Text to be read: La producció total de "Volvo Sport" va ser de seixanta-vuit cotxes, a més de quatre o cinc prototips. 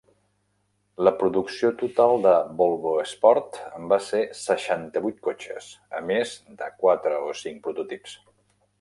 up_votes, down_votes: 0, 2